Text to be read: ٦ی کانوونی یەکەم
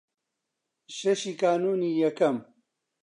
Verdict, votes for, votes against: rejected, 0, 2